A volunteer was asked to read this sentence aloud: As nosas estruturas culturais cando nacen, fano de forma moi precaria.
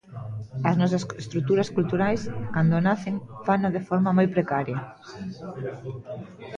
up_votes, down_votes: 1, 2